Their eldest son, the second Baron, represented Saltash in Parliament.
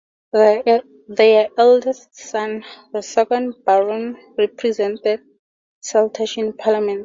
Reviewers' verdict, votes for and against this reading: accepted, 2, 0